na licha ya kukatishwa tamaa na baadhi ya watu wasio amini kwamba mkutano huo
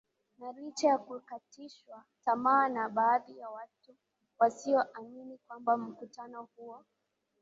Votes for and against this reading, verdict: 2, 0, accepted